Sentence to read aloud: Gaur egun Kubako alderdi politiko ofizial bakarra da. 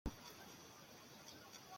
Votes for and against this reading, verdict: 0, 2, rejected